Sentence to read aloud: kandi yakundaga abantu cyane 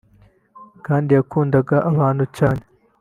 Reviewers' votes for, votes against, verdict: 2, 0, accepted